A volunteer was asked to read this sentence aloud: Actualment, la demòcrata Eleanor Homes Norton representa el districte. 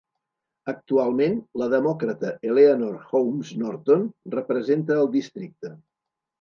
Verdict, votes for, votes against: accepted, 3, 0